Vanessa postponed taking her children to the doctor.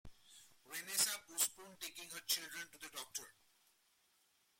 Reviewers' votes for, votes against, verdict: 0, 2, rejected